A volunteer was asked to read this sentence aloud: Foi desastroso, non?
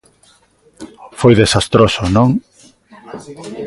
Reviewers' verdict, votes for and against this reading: accepted, 2, 0